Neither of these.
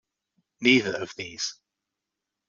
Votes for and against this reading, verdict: 2, 0, accepted